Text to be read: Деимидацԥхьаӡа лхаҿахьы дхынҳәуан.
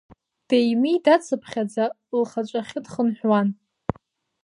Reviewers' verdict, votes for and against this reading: accepted, 2, 1